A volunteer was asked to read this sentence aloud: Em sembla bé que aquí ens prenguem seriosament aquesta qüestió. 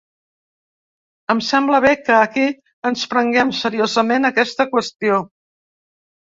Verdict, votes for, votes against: accepted, 3, 0